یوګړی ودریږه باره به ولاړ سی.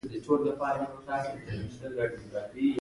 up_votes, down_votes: 2, 0